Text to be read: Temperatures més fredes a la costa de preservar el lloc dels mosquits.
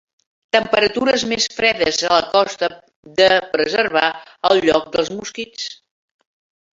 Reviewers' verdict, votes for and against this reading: accepted, 2, 0